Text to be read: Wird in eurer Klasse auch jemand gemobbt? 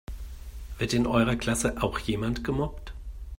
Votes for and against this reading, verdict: 2, 0, accepted